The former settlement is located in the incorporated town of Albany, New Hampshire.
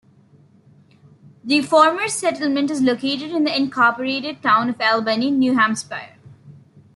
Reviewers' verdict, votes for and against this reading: rejected, 1, 2